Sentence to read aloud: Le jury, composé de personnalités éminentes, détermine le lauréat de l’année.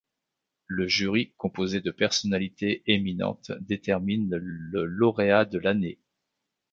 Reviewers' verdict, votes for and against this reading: rejected, 0, 2